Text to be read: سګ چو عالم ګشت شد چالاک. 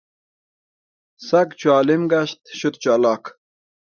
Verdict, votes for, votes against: rejected, 1, 2